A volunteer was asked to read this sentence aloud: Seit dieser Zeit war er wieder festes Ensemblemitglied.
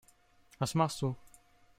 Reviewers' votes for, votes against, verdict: 0, 2, rejected